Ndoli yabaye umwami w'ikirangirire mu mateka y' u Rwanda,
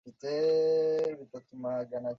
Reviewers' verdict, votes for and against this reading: rejected, 0, 2